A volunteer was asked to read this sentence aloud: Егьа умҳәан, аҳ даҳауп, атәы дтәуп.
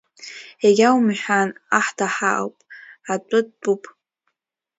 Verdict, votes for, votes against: accepted, 2, 0